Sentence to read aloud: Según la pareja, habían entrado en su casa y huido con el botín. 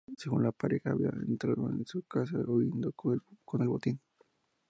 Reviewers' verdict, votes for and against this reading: rejected, 0, 2